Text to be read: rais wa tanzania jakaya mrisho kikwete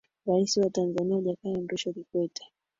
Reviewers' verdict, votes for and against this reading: rejected, 2, 3